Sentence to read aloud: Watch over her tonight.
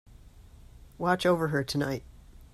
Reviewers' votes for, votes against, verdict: 2, 0, accepted